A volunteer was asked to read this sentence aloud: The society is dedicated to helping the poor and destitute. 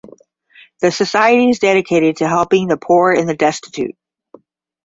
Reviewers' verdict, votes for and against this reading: accepted, 10, 5